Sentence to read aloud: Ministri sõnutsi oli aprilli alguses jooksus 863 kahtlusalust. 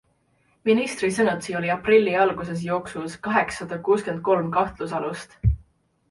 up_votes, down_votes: 0, 2